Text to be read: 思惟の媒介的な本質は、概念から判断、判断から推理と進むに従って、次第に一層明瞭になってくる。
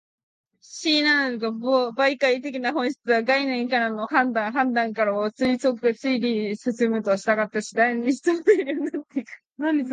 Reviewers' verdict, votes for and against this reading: accepted, 5, 1